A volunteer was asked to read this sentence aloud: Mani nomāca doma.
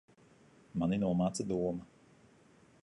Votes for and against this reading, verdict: 0, 2, rejected